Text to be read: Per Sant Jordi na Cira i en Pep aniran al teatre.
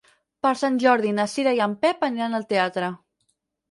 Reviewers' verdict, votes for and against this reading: accepted, 6, 0